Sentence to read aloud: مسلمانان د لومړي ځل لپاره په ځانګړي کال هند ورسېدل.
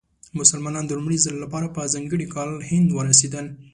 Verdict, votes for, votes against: accepted, 2, 0